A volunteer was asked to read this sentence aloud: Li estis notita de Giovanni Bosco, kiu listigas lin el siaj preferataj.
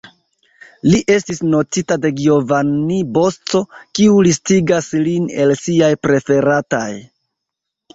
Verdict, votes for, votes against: rejected, 0, 2